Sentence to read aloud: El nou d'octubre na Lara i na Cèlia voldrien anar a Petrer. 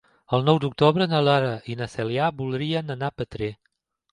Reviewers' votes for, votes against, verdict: 3, 0, accepted